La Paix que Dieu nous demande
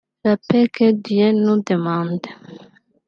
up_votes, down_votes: 0, 4